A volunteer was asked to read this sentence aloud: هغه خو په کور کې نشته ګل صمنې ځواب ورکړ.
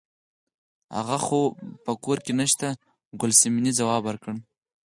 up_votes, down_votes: 4, 0